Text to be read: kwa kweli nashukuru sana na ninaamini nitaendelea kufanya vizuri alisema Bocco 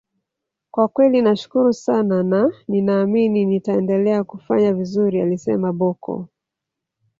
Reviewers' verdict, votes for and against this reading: rejected, 1, 2